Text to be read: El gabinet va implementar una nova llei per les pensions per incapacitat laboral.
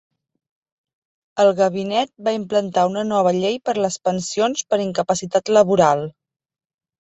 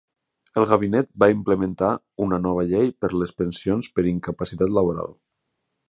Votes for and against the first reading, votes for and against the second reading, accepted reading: 1, 3, 4, 0, second